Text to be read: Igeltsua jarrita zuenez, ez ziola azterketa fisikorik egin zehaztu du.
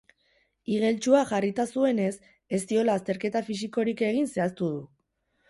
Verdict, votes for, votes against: rejected, 0, 4